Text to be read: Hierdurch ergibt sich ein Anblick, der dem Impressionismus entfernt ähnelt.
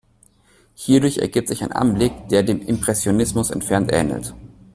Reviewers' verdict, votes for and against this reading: accepted, 2, 0